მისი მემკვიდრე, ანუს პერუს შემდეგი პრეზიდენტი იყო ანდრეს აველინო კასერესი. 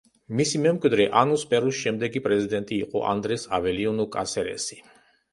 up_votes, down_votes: 0, 2